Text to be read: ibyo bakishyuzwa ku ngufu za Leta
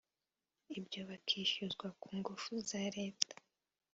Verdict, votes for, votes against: accepted, 2, 0